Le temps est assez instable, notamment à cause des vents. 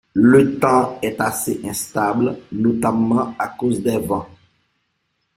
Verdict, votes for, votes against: rejected, 1, 2